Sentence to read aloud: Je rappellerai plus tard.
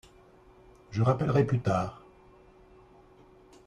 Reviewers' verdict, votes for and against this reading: accepted, 2, 0